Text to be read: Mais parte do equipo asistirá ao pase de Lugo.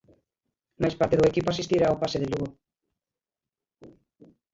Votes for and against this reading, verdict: 1, 2, rejected